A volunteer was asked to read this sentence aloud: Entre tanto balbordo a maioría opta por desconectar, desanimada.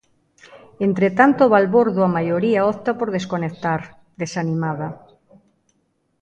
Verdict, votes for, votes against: accepted, 2, 0